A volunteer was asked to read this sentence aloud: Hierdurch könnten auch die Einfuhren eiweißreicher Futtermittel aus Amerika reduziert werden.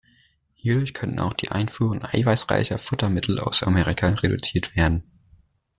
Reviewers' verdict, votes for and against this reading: accepted, 2, 0